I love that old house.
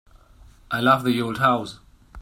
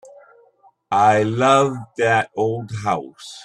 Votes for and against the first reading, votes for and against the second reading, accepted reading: 0, 2, 2, 0, second